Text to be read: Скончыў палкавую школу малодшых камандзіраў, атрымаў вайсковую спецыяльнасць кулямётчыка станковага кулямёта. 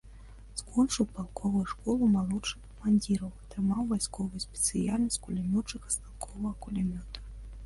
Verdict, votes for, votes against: rejected, 1, 3